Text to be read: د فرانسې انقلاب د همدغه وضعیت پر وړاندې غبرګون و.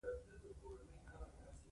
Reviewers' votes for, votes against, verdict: 0, 2, rejected